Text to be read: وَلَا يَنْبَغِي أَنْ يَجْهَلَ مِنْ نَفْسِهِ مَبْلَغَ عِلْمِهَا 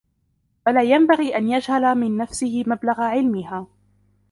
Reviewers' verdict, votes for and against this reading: rejected, 1, 2